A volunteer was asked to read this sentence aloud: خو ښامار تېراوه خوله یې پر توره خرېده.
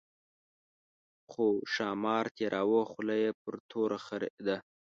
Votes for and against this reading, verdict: 2, 0, accepted